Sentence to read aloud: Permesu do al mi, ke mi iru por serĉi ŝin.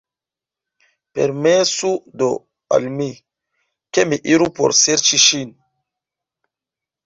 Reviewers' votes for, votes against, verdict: 3, 0, accepted